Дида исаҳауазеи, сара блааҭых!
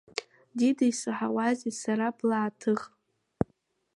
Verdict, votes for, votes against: accepted, 2, 0